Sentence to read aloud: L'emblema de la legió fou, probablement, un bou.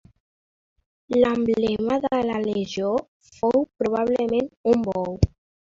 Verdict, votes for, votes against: accepted, 2, 0